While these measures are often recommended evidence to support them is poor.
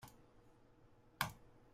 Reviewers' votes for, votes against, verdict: 0, 2, rejected